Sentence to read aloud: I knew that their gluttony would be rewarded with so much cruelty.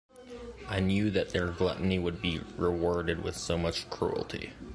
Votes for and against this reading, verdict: 2, 0, accepted